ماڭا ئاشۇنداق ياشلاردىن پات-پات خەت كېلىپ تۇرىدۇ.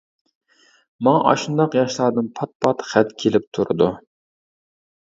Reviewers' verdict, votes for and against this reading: accepted, 2, 0